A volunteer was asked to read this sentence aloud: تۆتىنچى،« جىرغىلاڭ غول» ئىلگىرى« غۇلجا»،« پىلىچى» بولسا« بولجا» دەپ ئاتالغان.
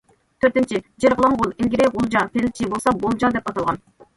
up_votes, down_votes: 1, 2